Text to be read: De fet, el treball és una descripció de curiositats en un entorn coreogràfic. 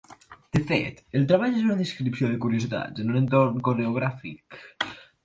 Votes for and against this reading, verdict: 3, 1, accepted